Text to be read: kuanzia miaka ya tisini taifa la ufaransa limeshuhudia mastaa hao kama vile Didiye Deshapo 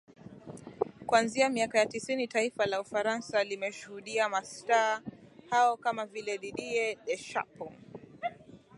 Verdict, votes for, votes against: accepted, 2, 1